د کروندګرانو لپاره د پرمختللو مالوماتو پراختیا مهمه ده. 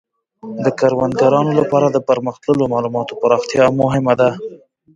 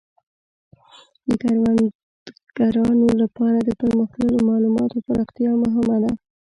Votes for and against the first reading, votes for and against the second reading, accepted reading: 2, 0, 1, 2, first